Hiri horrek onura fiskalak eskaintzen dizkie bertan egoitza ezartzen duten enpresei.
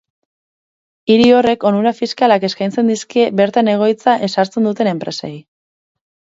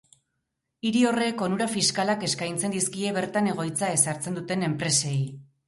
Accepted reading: first